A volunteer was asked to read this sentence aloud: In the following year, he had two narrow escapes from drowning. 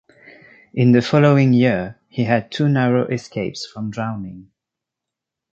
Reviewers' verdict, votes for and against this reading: accepted, 2, 0